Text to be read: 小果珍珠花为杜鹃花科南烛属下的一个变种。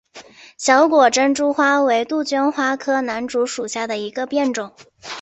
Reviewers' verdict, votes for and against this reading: accepted, 2, 0